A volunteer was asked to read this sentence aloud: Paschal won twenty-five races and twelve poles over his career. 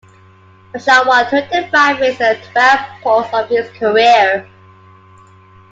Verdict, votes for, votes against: rejected, 0, 2